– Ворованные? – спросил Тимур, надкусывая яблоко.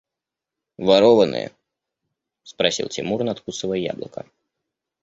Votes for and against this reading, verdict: 2, 0, accepted